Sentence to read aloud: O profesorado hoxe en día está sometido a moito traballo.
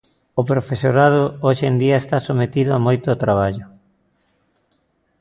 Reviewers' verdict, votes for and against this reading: accepted, 2, 0